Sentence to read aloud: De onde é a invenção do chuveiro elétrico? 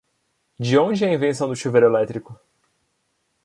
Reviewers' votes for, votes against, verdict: 2, 0, accepted